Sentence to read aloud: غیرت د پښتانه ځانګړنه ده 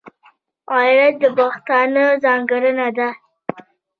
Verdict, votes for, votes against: rejected, 1, 2